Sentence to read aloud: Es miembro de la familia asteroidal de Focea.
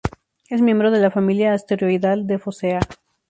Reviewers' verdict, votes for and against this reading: accepted, 6, 0